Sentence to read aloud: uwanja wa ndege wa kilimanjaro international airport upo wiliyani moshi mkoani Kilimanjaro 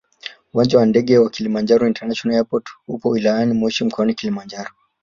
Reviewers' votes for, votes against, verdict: 3, 0, accepted